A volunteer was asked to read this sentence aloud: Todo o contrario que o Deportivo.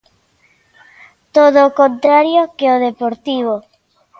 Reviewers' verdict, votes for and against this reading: accepted, 2, 0